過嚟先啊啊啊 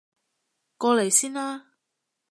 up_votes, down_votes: 0, 3